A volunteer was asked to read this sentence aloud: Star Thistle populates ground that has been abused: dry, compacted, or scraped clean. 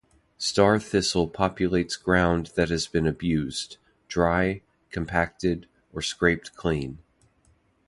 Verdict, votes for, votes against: accepted, 2, 0